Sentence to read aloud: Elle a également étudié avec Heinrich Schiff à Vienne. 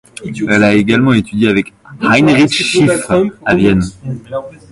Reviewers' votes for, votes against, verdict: 1, 2, rejected